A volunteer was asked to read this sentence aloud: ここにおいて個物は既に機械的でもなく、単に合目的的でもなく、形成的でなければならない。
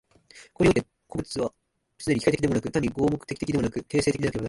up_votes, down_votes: 1, 3